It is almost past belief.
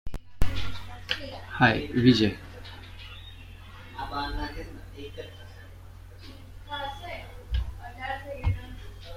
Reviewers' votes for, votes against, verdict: 0, 2, rejected